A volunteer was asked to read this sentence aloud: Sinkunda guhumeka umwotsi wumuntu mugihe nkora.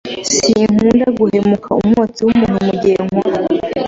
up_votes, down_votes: 1, 2